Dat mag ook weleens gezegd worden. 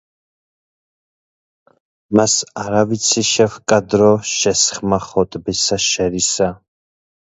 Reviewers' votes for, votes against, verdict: 0, 2, rejected